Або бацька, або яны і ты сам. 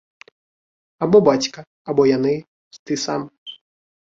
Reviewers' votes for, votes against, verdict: 1, 2, rejected